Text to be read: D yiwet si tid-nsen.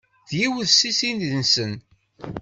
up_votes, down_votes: 2, 1